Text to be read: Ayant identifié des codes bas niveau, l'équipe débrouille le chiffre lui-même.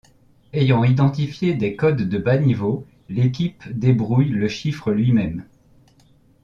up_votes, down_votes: 0, 2